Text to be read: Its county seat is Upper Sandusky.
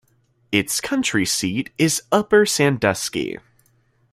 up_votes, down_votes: 0, 2